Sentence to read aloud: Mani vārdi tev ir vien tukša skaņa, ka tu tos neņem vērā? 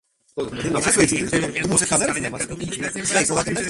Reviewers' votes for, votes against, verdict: 0, 2, rejected